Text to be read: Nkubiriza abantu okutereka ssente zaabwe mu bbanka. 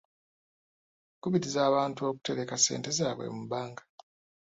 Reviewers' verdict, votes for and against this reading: rejected, 1, 2